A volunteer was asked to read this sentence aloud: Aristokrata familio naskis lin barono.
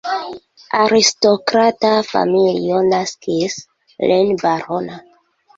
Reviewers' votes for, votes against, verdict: 0, 2, rejected